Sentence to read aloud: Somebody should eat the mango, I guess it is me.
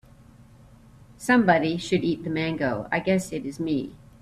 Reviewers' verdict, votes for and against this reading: accepted, 3, 0